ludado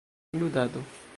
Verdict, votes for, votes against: rejected, 0, 3